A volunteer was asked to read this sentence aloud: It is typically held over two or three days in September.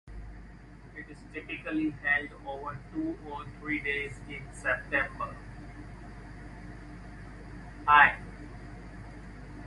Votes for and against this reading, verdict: 0, 2, rejected